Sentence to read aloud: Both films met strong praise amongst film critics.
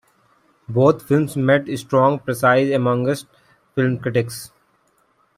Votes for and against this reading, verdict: 1, 2, rejected